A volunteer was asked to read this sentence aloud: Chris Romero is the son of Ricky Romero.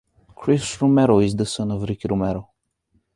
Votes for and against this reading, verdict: 1, 2, rejected